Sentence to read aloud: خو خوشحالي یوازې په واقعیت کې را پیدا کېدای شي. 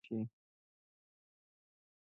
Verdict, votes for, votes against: rejected, 1, 3